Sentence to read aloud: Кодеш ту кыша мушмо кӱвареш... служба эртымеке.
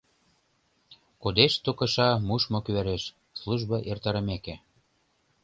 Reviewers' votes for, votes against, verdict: 0, 2, rejected